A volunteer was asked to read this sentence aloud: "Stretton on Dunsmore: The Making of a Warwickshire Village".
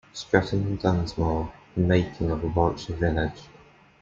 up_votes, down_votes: 2, 0